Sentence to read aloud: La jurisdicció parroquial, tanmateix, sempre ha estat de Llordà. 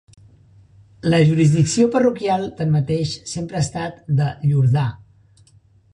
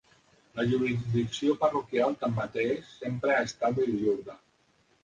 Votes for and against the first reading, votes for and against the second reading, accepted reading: 4, 0, 1, 2, first